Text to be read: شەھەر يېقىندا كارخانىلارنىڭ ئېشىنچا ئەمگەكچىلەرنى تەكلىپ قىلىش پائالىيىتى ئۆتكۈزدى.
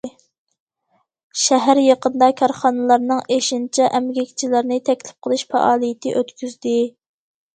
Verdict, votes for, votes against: accepted, 2, 0